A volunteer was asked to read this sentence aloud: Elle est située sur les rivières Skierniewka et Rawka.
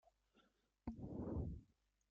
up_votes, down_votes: 0, 2